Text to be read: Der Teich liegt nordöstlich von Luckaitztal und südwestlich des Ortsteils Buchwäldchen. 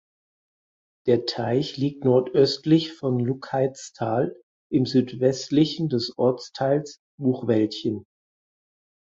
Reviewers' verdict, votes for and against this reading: rejected, 0, 4